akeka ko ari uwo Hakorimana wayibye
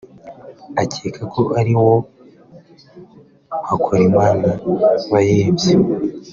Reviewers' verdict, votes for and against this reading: accepted, 2, 0